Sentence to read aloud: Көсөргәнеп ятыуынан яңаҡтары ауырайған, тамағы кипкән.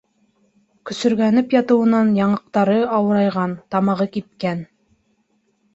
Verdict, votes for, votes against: accepted, 2, 0